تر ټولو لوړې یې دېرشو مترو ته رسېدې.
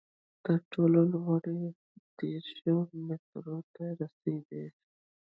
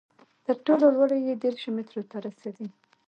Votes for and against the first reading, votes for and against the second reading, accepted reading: 0, 2, 2, 1, second